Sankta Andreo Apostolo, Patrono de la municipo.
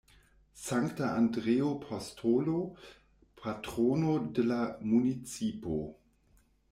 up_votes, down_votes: 0, 2